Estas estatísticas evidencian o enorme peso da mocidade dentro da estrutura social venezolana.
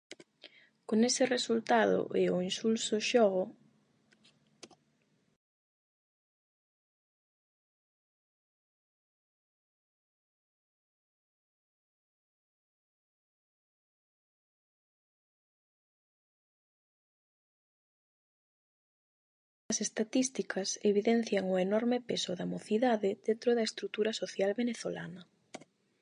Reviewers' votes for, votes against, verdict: 0, 8, rejected